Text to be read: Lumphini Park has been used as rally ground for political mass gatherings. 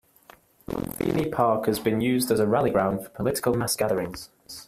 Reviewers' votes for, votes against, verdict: 0, 2, rejected